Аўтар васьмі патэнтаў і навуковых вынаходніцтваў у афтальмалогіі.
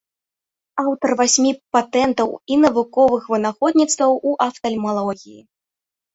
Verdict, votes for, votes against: rejected, 0, 2